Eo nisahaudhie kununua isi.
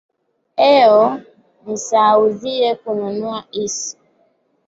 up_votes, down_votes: 2, 0